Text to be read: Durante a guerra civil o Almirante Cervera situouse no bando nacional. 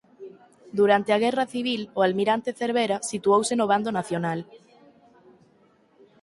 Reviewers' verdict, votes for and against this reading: accepted, 6, 0